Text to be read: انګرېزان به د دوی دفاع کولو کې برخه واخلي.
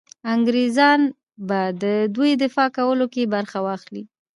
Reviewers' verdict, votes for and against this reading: accepted, 2, 0